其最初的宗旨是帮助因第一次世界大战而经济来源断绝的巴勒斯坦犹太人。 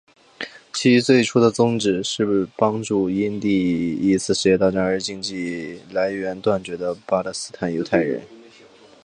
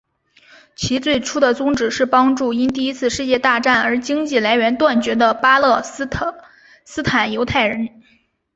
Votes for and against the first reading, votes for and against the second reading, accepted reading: 2, 0, 2, 3, first